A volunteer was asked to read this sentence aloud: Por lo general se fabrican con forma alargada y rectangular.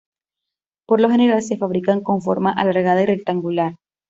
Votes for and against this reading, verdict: 2, 0, accepted